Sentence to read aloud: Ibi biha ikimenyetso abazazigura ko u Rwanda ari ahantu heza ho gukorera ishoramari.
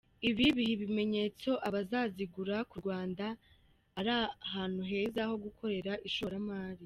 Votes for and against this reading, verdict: 1, 2, rejected